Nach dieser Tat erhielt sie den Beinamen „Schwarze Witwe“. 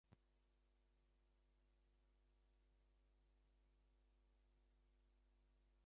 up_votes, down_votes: 0, 2